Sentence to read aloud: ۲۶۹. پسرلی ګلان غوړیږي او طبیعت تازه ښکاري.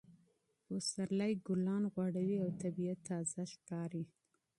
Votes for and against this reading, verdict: 0, 2, rejected